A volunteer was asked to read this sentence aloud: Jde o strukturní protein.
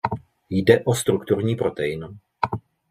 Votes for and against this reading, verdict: 2, 0, accepted